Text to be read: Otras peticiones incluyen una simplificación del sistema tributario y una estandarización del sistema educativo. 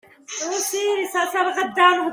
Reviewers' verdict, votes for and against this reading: rejected, 0, 2